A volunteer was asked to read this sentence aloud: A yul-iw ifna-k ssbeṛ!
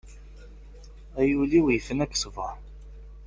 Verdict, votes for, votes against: accepted, 2, 0